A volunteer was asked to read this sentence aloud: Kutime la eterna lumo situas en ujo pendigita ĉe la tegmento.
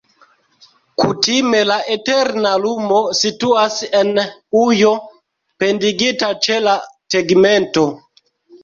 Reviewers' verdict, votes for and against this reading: accepted, 2, 1